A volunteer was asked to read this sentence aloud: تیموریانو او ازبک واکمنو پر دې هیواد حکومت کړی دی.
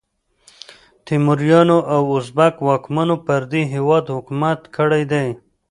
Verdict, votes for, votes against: accepted, 2, 0